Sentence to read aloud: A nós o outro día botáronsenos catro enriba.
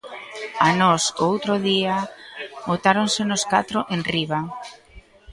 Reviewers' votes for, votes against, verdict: 1, 2, rejected